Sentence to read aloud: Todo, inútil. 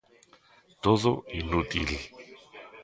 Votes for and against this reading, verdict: 0, 2, rejected